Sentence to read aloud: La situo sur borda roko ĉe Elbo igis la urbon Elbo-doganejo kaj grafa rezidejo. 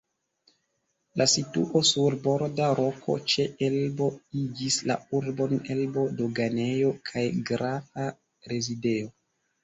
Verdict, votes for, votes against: rejected, 1, 2